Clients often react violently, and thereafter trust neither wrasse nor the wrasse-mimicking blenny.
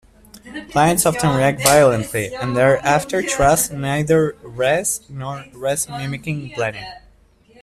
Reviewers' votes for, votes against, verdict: 0, 2, rejected